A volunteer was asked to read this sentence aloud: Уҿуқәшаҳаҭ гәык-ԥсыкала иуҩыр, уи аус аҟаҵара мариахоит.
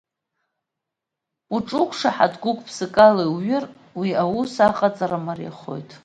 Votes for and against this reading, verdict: 2, 1, accepted